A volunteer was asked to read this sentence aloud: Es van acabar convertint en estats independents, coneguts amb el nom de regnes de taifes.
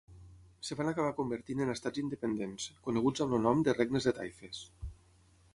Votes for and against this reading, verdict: 6, 6, rejected